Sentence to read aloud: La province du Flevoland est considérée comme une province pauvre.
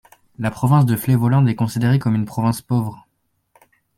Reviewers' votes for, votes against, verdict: 2, 0, accepted